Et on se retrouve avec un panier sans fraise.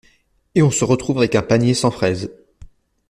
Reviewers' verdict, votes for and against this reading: accepted, 2, 0